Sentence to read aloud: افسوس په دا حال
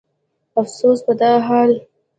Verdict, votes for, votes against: accepted, 2, 0